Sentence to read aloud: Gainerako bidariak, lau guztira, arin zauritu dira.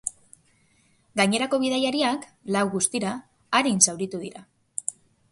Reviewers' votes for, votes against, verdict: 2, 2, rejected